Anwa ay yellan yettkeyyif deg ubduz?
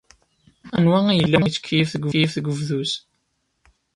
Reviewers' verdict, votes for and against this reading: rejected, 0, 2